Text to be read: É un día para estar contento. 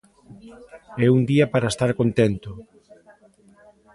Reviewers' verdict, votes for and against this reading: accepted, 2, 1